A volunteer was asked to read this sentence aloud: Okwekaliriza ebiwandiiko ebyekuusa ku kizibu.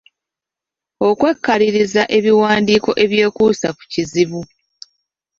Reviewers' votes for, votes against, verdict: 0, 2, rejected